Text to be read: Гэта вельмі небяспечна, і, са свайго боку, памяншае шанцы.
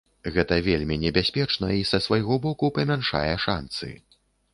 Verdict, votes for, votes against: accepted, 2, 0